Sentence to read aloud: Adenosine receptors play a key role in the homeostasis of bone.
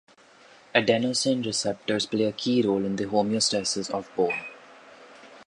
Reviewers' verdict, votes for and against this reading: accepted, 2, 0